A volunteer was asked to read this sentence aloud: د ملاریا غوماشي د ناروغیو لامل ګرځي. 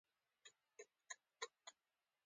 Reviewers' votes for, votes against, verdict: 2, 1, accepted